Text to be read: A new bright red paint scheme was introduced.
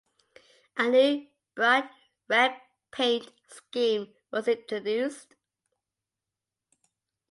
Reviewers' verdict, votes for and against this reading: accepted, 2, 0